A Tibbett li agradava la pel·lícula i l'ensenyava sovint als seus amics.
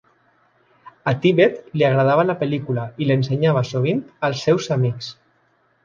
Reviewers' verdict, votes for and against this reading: accepted, 2, 0